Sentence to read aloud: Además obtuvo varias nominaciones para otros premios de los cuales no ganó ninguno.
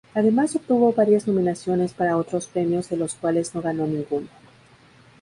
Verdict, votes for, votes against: accepted, 2, 0